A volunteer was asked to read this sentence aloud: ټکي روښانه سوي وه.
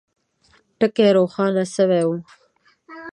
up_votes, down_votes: 1, 2